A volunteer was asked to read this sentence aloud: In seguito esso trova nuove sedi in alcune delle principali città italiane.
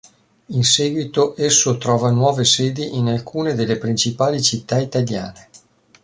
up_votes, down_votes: 2, 0